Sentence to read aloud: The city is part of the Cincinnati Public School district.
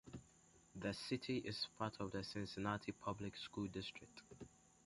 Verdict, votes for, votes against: accepted, 2, 1